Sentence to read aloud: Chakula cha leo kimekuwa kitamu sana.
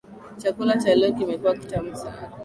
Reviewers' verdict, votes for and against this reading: accepted, 5, 0